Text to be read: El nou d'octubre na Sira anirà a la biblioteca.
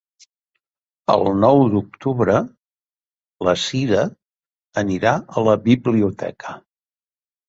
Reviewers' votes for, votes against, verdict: 2, 1, accepted